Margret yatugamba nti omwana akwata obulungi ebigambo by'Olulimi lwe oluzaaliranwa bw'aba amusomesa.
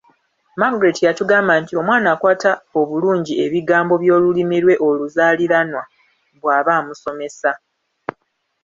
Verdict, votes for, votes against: accepted, 2, 0